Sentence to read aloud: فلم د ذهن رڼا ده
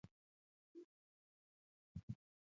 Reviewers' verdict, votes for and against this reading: accepted, 2, 0